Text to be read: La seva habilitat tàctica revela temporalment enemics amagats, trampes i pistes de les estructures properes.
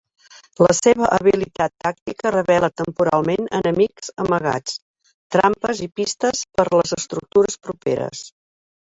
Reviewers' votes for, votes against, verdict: 0, 2, rejected